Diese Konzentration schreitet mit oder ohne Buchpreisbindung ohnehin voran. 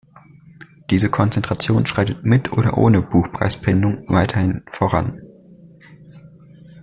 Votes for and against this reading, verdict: 0, 2, rejected